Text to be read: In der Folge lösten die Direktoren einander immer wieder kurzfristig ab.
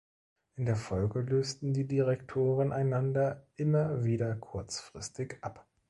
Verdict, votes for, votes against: accepted, 2, 0